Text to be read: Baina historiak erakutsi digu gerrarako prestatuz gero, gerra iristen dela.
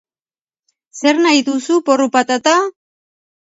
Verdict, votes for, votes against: rejected, 0, 2